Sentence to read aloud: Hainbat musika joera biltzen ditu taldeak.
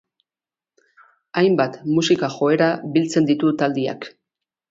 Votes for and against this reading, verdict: 0, 2, rejected